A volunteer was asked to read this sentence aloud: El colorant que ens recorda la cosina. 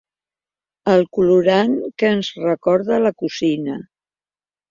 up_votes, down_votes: 1, 2